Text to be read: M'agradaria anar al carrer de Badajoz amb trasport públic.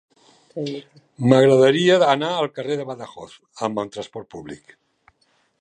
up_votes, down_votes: 0, 2